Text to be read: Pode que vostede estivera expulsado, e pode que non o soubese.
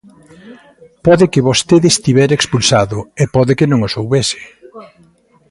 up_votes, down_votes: 2, 0